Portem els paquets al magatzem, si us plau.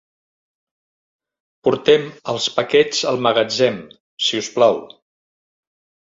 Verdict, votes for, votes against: accepted, 4, 0